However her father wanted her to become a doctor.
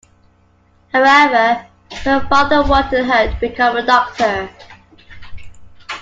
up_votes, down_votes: 2, 0